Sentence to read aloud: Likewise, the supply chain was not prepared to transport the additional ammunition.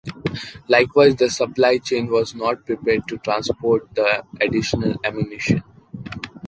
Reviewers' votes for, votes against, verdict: 2, 0, accepted